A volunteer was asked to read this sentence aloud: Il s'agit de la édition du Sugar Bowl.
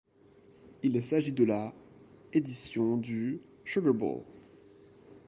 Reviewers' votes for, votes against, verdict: 2, 0, accepted